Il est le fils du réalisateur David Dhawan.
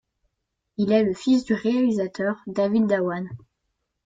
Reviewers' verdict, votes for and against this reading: accepted, 2, 0